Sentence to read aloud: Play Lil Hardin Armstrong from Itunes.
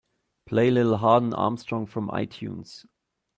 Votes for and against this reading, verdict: 2, 0, accepted